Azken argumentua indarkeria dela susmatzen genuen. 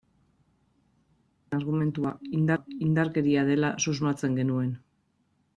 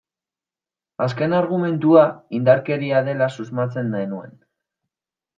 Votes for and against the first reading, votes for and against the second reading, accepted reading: 0, 2, 2, 1, second